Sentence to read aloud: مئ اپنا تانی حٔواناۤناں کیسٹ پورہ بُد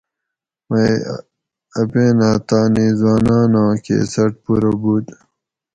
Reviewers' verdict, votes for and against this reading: rejected, 2, 2